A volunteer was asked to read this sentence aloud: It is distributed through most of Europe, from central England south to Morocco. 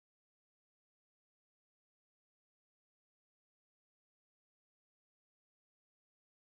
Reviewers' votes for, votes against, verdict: 0, 2, rejected